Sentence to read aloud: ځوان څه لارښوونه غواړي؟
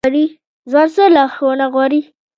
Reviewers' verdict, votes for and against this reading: rejected, 1, 2